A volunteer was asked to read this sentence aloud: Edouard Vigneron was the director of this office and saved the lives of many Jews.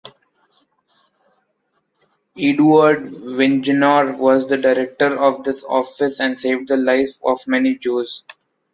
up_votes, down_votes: 0, 2